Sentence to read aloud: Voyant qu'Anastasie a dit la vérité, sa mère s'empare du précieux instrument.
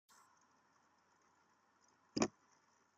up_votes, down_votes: 0, 2